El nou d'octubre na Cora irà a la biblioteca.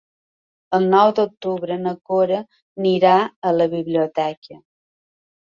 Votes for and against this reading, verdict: 1, 3, rejected